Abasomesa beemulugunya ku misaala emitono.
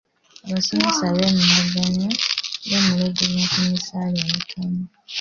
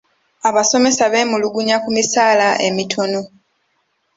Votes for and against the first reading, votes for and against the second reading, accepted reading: 1, 2, 2, 0, second